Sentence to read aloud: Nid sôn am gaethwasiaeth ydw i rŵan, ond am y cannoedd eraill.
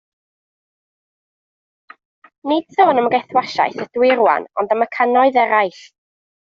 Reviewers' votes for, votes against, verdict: 1, 2, rejected